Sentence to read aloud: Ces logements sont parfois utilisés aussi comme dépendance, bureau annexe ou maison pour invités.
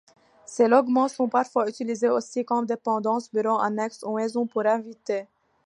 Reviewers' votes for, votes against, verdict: 2, 0, accepted